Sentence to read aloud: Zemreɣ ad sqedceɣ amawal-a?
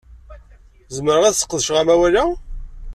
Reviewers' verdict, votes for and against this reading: accepted, 2, 0